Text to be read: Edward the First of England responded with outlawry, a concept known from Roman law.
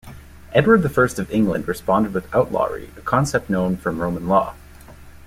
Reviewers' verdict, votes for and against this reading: accepted, 2, 0